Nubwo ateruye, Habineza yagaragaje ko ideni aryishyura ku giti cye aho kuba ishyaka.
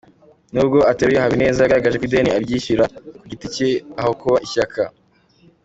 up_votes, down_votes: 0, 2